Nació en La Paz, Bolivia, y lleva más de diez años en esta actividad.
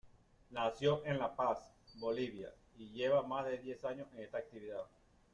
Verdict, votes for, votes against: rejected, 1, 2